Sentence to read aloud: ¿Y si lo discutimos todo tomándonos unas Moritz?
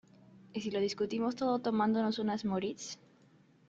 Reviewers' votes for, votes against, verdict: 2, 0, accepted